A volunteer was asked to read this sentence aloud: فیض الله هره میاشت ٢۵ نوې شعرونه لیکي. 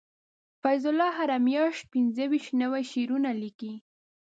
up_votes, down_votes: 0, 2